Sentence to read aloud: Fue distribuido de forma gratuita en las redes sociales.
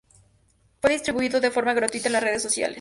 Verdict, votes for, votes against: rejected, 2, 2